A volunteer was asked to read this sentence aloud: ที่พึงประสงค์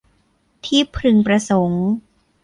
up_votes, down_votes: 1, 2